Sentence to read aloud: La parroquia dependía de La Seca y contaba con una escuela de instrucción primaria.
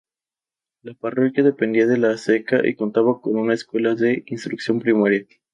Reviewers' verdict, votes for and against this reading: accepted, 2, 0